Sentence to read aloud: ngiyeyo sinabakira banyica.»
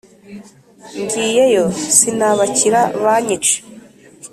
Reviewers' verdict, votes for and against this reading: accepted, 2, 0